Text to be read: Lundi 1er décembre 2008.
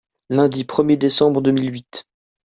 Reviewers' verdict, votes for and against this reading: rejected, 0, 2